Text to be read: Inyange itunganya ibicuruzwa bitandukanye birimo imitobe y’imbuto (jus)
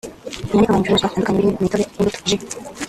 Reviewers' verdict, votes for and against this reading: rejected, 0, 2